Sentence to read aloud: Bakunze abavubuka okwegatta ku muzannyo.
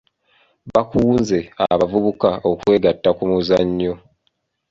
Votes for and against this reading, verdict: 0, 3, rejected